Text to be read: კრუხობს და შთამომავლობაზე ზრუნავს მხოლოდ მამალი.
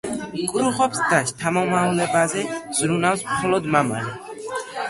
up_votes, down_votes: 2, 1